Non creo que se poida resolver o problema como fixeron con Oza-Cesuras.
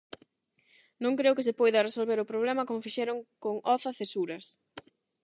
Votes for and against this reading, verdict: 8, 0, accepted